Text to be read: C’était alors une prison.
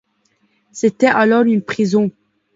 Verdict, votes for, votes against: accepted, 2, 0